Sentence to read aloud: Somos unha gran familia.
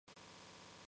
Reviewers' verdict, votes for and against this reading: rejected, 0, 2